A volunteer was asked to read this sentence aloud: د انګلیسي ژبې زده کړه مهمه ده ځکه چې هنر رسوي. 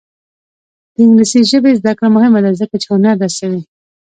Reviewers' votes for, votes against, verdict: 2, 0, accepted